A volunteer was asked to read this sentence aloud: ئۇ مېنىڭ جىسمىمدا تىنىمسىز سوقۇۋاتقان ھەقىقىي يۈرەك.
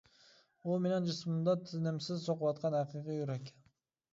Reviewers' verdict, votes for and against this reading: accepted, 2, 0